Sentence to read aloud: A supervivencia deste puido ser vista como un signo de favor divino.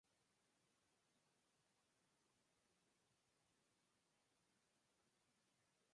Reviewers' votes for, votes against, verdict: 0, 6, rejected